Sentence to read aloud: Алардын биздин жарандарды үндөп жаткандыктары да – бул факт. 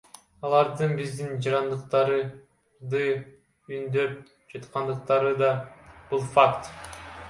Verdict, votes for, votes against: rejected, 0, 2